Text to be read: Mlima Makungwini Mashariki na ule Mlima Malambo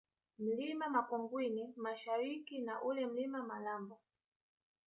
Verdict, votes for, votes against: rejected, 1, 2